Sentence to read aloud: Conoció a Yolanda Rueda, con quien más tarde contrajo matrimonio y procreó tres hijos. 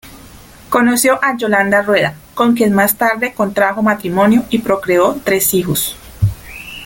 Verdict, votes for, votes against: rejected, 1, 3